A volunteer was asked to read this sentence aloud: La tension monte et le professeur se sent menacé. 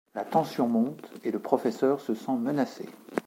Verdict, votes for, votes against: rejected, 0, 2